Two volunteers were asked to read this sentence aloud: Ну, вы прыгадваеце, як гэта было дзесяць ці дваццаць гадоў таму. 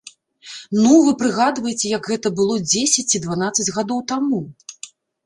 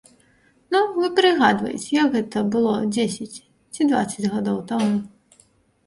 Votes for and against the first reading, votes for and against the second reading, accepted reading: 0, 2, 3, 0, second